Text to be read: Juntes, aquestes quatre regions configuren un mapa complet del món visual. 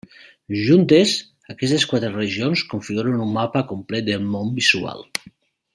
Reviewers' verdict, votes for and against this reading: accepted, 2, 1